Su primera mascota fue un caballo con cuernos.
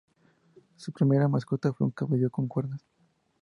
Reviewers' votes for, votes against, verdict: 0, 4, rejected